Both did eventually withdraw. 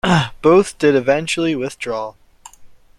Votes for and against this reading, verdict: 2, 0, accepted